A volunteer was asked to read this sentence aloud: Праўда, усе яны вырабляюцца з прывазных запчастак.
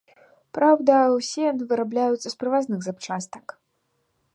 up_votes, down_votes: 2, 0